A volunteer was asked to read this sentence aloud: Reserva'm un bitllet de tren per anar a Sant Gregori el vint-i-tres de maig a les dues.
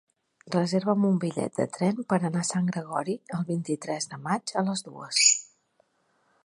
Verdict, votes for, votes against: accepted, 3, 0